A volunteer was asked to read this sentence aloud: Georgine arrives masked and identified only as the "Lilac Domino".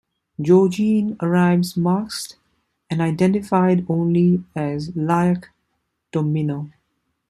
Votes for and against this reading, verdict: 0, 2, rejected